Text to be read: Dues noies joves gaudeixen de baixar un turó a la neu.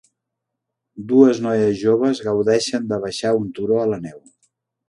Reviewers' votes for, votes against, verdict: 3, 0, accepted